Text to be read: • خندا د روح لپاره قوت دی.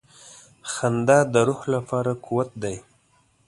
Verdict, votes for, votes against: accepted, 2, 0